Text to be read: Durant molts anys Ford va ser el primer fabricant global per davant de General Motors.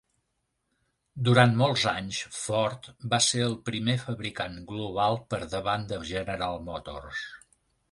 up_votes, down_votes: 3, 0